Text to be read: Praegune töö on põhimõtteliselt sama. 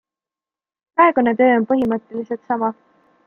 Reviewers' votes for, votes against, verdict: 2, 0, accepted